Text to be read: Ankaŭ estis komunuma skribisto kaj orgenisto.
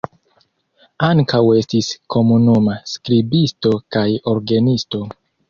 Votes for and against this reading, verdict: 2, 0, accepted